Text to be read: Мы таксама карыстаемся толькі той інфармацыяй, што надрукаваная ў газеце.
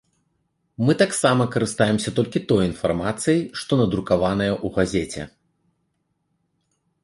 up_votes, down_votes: 2, 0